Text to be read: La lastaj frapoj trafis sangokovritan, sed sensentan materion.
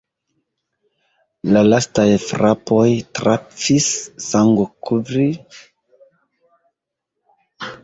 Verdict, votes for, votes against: rejected, 0, 2